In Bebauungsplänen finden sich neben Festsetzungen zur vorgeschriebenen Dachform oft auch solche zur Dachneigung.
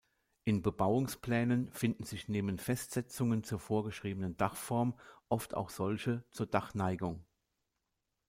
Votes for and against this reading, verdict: 2, 0, accepted